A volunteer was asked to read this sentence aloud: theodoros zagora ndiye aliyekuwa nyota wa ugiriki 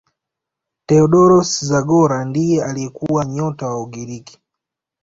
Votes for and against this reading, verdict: 2, 0, accepted